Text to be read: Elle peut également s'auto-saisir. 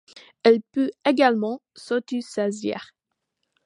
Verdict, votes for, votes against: accepted, 2, 1